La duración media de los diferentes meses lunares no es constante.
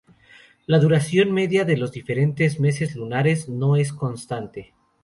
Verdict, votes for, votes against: rejected, 0, 2